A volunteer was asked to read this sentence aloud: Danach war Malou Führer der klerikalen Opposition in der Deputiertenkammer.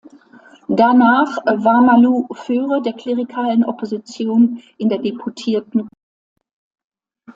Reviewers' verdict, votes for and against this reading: rejected, 0, 2